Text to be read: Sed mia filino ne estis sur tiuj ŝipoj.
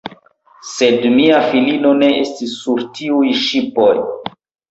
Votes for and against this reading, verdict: 2, 1, accepted